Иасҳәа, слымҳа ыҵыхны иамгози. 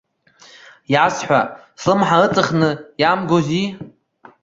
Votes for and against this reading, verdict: 1, 2, rejected